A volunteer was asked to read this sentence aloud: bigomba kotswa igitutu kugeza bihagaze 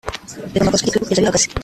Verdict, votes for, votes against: rejected, 1, 3